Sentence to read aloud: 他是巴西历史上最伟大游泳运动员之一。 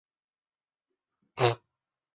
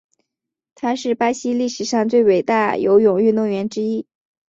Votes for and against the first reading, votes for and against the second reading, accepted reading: 0, 3, 3, 1, second